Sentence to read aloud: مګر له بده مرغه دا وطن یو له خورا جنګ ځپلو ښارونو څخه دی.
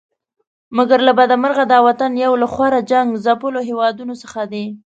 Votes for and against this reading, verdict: 0, 2, rejected